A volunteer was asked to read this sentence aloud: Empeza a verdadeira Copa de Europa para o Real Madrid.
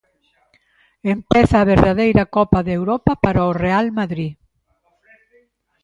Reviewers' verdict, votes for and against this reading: accepted, 2, 0